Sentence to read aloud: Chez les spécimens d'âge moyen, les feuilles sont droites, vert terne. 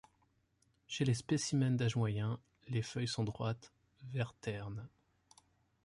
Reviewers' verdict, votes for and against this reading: accepted, 2, 0